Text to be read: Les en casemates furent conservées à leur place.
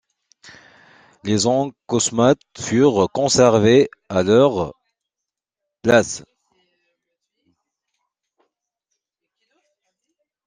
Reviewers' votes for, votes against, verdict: 1, 2, rejected